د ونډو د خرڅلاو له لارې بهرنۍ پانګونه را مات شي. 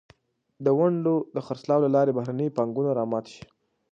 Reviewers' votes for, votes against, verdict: 2, 0, accepted